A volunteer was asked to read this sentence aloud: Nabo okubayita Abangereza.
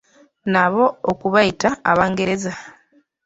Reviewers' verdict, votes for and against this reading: accepted, 2, 0